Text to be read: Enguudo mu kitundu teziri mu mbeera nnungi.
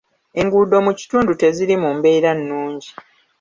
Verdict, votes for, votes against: accepted, 2, 0